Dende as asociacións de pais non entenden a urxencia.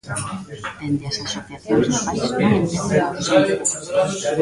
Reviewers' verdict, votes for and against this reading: rejected, 0, 2